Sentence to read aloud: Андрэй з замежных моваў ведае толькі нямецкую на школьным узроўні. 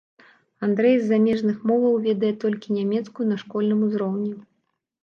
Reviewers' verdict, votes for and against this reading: accepted, 2, 0